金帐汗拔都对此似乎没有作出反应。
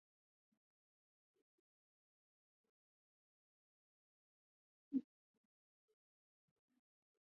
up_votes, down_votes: 0, 2